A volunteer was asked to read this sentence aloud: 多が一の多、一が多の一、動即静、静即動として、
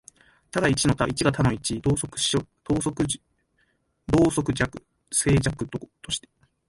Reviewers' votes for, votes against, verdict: 0, 2, rejected